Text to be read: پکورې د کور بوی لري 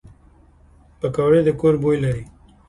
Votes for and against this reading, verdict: 2, 0, accepted